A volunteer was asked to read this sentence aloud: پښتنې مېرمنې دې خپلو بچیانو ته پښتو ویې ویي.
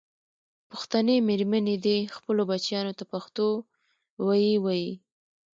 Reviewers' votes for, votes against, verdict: 2, 0, accepted